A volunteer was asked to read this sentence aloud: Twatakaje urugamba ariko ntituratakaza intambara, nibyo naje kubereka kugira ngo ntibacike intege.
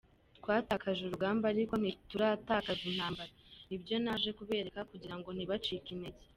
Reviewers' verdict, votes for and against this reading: accepted, 2, 0